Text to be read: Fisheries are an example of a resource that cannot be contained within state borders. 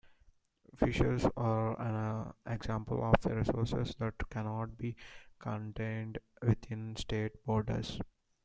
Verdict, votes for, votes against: rejected, 0, 2